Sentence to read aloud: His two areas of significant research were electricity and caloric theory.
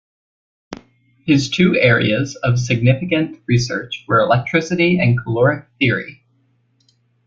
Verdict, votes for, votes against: accepted, 2, 0